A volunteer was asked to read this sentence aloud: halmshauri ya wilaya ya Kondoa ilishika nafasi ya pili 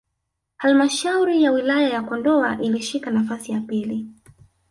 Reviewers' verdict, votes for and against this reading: accepted, 2, 0